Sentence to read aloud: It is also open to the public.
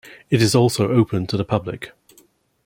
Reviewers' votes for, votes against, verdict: 2, 0, accepted